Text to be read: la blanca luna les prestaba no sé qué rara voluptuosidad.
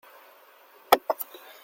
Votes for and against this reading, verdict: 0, 2, rejected